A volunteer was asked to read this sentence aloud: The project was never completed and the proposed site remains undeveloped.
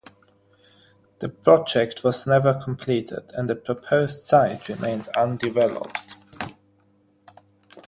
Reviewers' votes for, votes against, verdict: 3, 0, accepted